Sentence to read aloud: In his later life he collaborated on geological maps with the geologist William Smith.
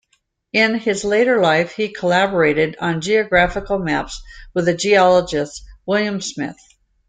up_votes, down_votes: 0, 2